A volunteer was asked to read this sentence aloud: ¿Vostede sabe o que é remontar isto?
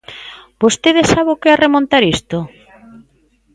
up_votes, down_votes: 2, 0